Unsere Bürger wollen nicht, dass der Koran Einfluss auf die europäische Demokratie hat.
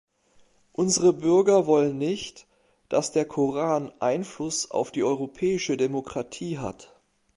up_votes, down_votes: 2, 0